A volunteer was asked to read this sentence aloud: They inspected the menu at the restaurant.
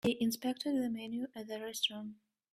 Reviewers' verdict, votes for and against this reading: accepted, 2, 0